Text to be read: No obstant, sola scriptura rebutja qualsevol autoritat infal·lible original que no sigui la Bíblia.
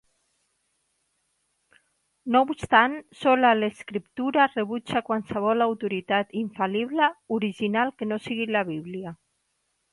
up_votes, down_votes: 2, 1